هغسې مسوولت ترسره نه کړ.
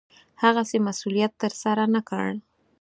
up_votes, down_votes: 4, 0